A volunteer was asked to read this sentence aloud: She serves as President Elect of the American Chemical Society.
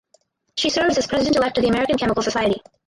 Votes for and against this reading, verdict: 2, 4, rejected